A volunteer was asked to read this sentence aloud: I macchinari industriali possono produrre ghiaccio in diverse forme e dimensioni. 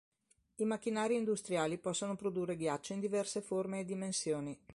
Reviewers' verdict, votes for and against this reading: accepted, 3, 0